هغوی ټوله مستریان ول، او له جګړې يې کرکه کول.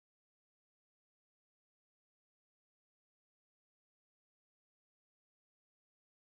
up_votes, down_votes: 1, 2